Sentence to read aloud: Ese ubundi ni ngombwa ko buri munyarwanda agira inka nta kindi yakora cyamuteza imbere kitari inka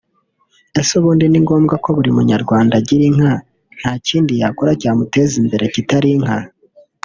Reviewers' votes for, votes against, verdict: 2, 0, accepted